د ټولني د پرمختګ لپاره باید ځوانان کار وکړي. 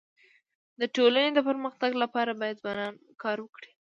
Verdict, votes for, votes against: accepted, 2, 0